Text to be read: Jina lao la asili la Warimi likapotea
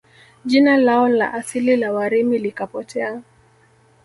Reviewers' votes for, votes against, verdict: 1, 2, rejected